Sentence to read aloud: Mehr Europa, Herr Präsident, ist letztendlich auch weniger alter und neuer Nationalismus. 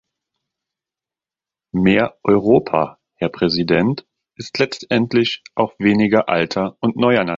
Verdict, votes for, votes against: rejected, 0, 2